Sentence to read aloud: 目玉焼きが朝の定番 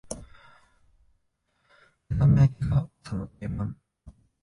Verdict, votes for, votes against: rejected, 0, 2